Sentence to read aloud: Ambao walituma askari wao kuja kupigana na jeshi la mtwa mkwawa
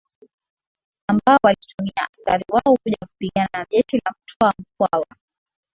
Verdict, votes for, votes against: accepted, 6, 1